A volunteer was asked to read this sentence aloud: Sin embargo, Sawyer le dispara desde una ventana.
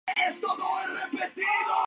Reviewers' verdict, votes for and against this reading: rejected, 0, 2